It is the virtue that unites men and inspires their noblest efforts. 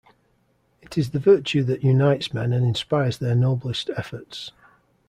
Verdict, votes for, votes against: accepted, 2, 0